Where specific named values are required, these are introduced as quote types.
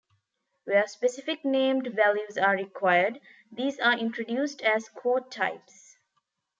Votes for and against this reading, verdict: 2, 1, accepted